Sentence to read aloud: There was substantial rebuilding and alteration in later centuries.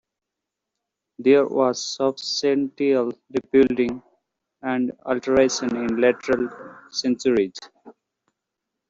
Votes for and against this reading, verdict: 0, 2, rejected